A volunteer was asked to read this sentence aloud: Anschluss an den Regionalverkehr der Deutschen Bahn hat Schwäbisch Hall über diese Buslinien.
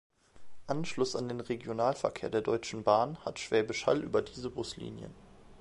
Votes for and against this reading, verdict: 2, 0, accepted